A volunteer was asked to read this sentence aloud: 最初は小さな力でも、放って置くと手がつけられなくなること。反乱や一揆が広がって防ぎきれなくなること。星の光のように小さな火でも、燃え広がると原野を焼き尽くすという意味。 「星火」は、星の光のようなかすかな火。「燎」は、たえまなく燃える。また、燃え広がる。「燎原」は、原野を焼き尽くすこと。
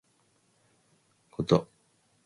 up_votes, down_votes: 0, 2